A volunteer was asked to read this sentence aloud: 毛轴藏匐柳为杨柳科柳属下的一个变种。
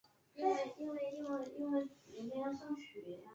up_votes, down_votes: 0, 2